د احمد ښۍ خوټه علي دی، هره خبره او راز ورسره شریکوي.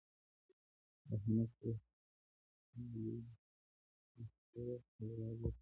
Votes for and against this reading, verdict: 1, 2, rejected